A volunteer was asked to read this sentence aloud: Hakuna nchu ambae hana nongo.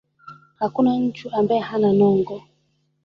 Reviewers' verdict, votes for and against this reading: accepted, 3, 0